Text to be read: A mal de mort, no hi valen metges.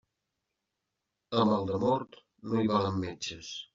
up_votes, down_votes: 0, 2